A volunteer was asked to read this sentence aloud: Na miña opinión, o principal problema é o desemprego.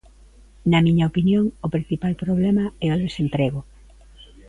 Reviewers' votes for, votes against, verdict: 1, 2, rejected